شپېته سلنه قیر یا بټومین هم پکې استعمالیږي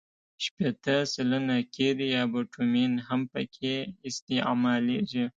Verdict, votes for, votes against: accepted, 2, 0